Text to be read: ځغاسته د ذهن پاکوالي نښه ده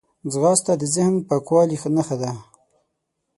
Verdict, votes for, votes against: accepted, 6, 0